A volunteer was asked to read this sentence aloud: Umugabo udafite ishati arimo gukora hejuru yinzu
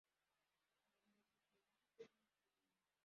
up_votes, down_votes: 0, 2